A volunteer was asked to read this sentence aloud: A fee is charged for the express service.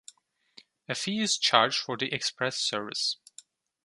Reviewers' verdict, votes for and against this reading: accepted, 2, 0